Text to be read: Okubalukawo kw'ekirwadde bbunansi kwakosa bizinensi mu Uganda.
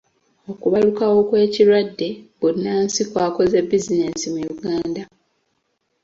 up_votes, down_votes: 0, 2